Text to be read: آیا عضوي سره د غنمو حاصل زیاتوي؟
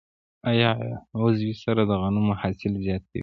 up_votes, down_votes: 0, 2